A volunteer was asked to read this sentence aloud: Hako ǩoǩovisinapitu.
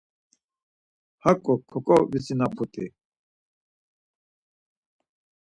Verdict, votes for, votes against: rejected, 2, 4